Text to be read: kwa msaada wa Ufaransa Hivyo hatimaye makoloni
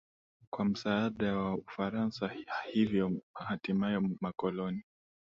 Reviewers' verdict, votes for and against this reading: accepted, 3, 0